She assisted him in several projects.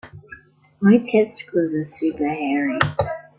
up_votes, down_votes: 2, 0